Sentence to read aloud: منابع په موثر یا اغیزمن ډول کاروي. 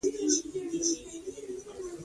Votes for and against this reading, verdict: 0, 2, rejected